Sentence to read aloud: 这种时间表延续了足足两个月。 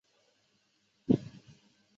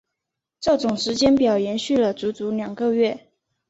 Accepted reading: second